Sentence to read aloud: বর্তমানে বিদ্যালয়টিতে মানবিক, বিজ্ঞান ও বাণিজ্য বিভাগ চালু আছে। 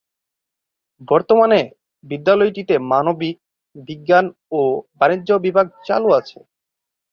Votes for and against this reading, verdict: 2, 2, rejected